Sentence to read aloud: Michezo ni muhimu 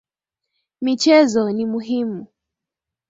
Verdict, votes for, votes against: accepted, 3, 1